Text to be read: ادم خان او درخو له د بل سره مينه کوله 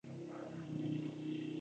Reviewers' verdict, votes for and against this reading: accepted, 2, 0